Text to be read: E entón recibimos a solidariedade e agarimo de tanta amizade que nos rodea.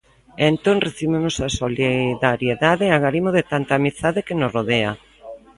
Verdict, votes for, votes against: rejected, 1, 2